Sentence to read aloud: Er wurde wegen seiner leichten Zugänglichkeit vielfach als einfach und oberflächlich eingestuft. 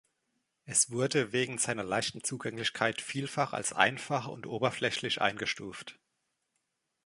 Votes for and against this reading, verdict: 1, 2, rejected